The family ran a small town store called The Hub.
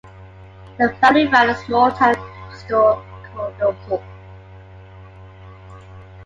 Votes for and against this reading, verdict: 1, 2, rejected